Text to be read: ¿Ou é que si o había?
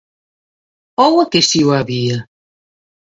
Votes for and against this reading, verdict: 2, 1, accepted